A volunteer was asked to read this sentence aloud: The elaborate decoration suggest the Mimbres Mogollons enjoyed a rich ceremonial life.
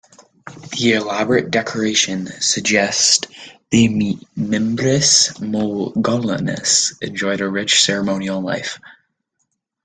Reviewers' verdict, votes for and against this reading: rejected, 1, 2